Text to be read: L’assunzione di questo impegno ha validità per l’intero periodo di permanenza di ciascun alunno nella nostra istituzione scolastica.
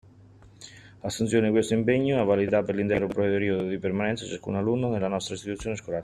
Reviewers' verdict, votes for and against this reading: rejected, 1, 2